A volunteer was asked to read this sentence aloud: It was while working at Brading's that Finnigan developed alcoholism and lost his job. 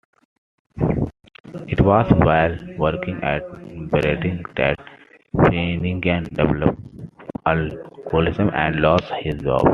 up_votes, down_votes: 2, 0